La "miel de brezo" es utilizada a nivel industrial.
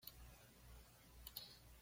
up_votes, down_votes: 1, 2